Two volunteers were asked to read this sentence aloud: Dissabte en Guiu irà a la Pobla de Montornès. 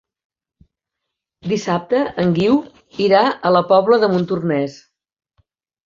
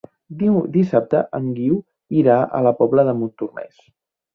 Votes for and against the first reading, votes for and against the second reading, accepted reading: 4, 0, 0, 2, first